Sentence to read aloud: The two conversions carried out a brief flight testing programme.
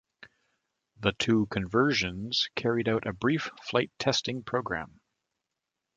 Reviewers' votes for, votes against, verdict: 2, 0, accepted